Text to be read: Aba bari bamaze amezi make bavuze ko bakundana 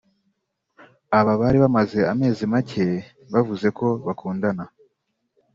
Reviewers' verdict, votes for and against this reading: accepted, 4, 1